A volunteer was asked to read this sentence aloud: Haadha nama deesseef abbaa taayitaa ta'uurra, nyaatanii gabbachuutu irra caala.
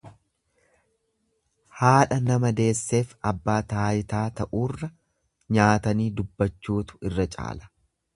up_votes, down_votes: 1, 2